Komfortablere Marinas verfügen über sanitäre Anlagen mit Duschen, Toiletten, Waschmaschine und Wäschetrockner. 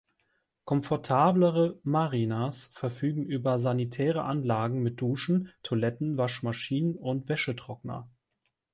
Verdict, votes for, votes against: rejected, 1, 2